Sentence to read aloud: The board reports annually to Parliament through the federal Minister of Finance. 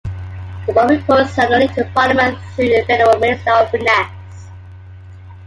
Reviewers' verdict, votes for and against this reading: rejected, 0, 2